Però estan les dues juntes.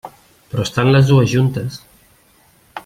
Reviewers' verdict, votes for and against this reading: accepted, 3, 0